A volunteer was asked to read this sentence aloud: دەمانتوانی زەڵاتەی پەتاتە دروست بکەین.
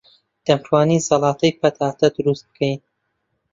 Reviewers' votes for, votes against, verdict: 0, 2, rejected